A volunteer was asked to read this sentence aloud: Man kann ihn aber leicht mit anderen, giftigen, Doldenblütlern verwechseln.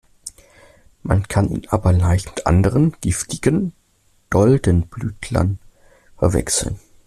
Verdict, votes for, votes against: rejected, 1, 2